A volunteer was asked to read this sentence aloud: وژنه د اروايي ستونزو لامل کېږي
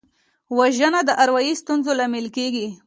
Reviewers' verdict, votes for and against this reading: accepted, 2, 0